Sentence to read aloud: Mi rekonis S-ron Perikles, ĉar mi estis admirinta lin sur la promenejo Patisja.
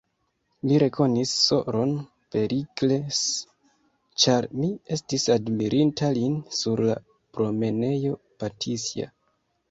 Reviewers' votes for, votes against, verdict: 0, 2, rejected